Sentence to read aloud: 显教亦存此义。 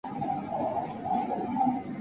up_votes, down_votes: 0, 2